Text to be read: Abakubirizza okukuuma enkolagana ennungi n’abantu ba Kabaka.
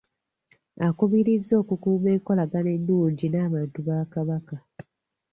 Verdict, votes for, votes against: rejected, 1, 2